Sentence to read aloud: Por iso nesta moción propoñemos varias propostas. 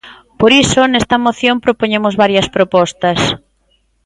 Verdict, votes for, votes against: accepted, 2, 0